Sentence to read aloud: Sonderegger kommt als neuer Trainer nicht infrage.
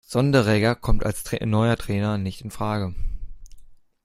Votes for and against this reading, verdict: 1, 2, rejected